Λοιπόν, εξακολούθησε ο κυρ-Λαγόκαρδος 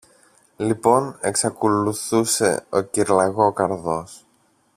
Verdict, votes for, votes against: rejected, 1, 2